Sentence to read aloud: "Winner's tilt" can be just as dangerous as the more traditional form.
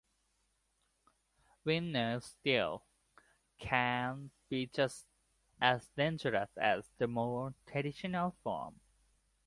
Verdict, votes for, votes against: accepted, 2, 0